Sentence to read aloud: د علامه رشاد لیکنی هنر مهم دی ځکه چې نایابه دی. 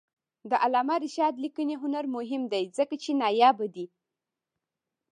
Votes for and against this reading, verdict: 0, 2, rejected